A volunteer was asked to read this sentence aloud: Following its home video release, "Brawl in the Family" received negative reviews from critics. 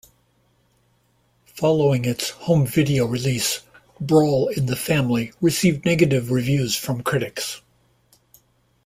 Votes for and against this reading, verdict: 2, 0, accepted